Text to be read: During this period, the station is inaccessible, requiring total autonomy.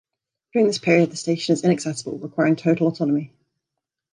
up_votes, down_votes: 2, 0